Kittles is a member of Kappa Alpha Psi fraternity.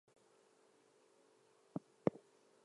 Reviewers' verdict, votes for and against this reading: rejected, 0, 2